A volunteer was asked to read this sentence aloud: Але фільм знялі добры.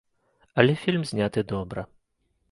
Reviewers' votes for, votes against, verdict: 0, 2, rejected